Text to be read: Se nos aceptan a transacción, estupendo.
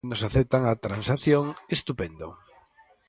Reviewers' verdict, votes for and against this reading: rejected, 0, 4